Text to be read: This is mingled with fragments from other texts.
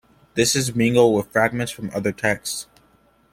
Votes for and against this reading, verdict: 1, 2, rejected